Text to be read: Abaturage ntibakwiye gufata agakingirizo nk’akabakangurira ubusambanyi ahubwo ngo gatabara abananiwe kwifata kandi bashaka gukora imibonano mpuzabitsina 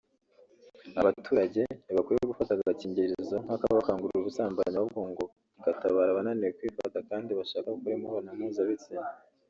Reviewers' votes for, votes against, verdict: 1, 2, rejected